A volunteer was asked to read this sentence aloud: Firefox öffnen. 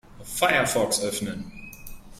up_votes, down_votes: 3, 0